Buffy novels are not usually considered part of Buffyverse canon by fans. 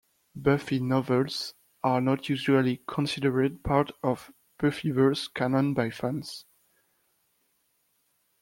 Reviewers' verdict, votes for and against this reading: accepted, 2, 0